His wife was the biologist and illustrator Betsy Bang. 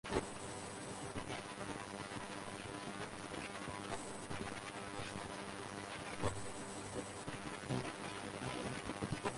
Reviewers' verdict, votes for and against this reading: rejected, 0, 2